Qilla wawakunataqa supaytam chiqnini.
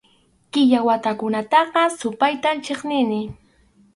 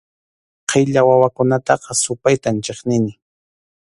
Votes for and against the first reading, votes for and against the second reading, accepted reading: 2, 2, 2, 0, second